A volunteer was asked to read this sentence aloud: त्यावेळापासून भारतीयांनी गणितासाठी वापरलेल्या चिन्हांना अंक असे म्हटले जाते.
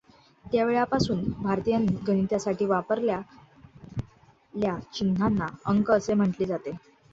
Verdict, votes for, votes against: rejected, 1, 2